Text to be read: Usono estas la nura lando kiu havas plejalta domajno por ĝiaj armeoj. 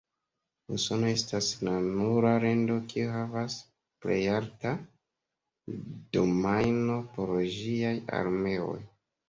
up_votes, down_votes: 0, 2